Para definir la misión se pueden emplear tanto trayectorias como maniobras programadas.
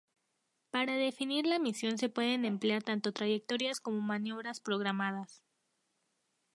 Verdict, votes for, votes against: accepted, 2, 0